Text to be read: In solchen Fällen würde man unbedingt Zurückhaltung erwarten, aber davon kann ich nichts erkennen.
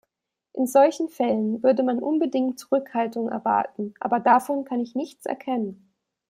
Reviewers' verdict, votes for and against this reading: accepted, 2, 0